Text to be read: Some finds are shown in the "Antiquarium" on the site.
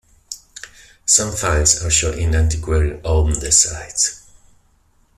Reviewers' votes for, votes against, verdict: 0, 2, rejected